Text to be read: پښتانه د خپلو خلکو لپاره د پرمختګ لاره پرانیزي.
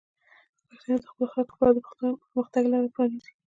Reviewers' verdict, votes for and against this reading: rejected, 0, 2